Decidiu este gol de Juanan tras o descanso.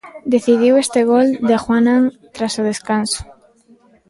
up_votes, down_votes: 2, 0